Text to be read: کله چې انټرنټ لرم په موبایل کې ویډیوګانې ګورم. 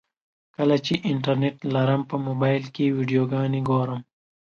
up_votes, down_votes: 3, 0